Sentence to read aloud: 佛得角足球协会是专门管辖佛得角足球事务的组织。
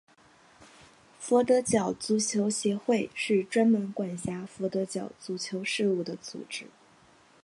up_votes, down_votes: 2, 0